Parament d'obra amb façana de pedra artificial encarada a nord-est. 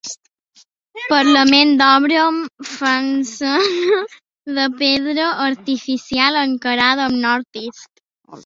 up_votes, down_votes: 0, 2